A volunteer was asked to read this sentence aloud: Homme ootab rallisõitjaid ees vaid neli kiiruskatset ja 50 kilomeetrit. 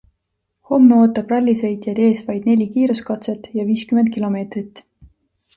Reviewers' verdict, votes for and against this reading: rejected, 0, 2